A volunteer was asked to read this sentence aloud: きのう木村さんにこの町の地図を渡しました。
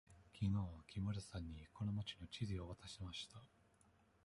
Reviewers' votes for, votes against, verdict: 1, 2, rejected